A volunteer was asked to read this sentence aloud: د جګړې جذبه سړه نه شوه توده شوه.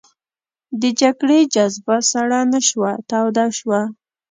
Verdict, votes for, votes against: accepted, 2, 0